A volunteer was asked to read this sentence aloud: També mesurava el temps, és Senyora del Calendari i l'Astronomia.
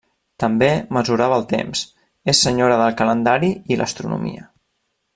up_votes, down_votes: 3, 0